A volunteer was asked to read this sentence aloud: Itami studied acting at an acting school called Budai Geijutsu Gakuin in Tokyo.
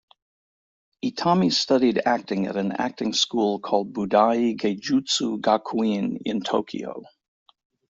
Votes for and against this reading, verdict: 2, 0, accepted